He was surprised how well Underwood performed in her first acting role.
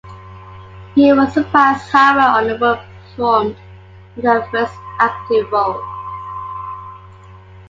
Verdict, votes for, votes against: accepted, 2, 1